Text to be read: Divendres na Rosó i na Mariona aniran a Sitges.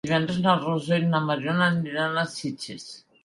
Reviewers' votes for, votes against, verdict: 1, 2, rejected